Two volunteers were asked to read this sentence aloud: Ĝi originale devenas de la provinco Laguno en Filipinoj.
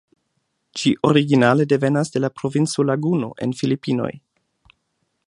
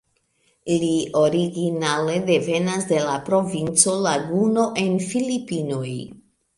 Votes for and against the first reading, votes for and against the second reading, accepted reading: 2, 0, 1, 2, first